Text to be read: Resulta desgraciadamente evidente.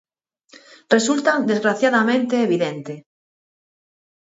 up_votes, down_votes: 4, 2